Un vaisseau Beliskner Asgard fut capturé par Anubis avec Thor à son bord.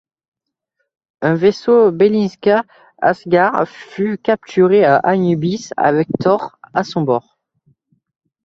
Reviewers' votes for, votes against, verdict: 0, 2, rejected